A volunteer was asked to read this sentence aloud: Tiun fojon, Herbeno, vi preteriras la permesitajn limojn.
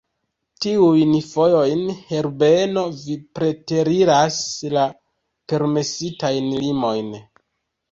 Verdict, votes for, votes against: rejected, 1, 2